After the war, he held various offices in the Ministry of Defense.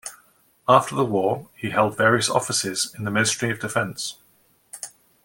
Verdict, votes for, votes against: accepted, 2, 0